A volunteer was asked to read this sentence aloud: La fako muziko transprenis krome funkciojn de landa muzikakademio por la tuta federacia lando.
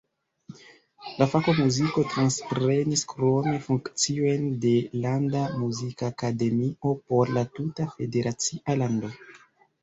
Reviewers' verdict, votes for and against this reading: rejected, 0, 2